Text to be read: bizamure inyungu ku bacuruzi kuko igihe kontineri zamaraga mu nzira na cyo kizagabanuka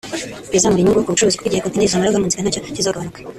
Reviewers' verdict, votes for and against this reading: rejected, 1, 2